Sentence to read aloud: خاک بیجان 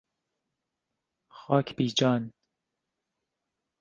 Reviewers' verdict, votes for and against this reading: rejected, 1, 2